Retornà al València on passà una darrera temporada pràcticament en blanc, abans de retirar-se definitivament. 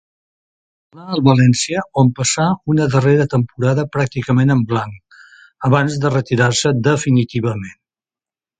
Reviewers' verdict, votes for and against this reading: rejected, 1, 2